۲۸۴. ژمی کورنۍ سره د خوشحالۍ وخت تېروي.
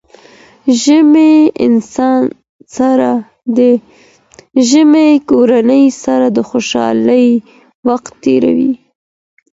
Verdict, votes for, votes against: rejected, 0, 2